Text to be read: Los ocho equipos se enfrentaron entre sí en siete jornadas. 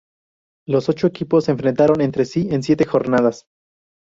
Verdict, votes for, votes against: rejected, 0, 2